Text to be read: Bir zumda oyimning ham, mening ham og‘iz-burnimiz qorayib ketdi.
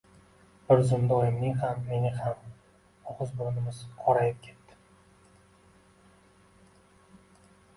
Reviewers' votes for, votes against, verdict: 1, 2, rejected